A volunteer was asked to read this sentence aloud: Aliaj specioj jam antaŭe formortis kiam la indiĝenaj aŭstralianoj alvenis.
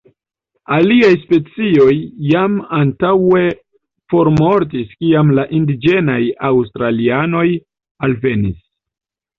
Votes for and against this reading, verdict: 2, 0, accepted